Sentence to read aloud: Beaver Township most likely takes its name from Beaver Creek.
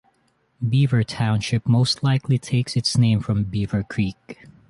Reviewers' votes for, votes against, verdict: 3, 0, accepted